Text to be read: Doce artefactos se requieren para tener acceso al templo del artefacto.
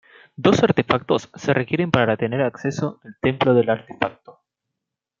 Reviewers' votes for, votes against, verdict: 0, 2, rejected